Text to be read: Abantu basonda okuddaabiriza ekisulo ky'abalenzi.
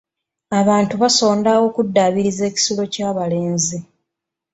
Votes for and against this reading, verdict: 2, 0, accepted